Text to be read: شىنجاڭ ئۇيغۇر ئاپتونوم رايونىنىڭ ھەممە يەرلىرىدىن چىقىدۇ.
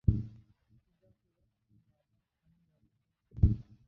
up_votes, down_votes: 0, 2